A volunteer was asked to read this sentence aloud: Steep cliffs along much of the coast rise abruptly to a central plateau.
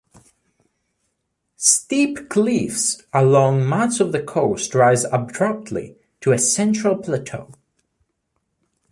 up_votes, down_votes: 1, 2